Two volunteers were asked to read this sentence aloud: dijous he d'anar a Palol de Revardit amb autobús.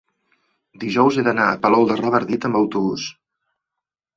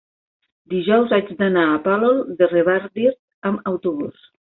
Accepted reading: first